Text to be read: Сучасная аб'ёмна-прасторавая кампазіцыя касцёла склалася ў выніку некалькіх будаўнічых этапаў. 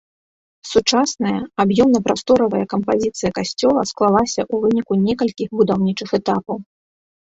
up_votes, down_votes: 0, 2